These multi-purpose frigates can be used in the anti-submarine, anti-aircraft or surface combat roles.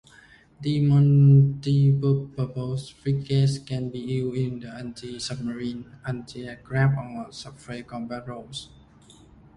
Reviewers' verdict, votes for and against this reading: rejected, 0, 2